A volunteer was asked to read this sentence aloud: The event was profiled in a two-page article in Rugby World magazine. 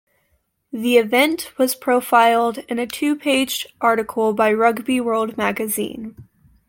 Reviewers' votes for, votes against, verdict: 1, 2, rejected